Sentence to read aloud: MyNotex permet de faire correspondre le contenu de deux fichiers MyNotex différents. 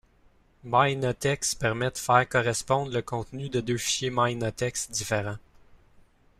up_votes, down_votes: 2, 1